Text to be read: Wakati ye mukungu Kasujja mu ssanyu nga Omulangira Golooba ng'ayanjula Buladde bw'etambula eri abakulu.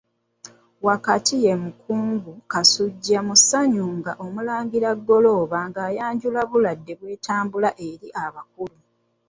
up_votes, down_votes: 3, 0